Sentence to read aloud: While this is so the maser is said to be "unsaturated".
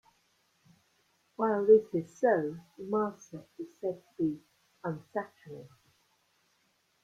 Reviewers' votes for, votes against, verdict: 2, 0, accepted